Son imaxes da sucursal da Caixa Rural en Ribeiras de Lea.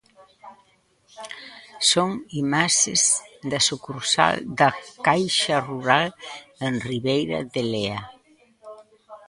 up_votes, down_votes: 0, 2